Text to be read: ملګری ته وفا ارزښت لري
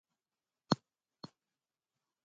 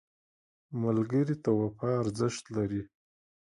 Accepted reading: second